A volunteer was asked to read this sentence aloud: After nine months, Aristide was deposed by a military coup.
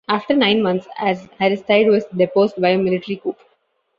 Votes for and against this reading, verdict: 2, 0, accepted